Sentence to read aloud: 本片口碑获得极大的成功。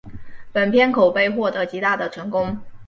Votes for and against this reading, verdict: 1, 2, rejected